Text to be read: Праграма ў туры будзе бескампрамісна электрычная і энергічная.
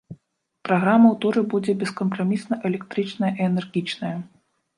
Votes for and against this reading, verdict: 2, 1, accepted